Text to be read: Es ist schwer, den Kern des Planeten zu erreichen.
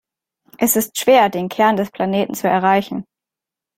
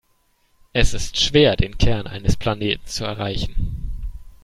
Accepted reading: first